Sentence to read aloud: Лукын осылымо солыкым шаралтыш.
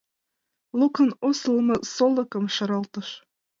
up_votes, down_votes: 2, 0